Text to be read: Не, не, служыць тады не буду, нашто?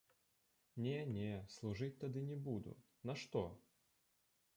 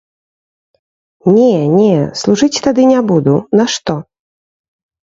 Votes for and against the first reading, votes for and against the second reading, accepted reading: 1, 2, 3, 0, second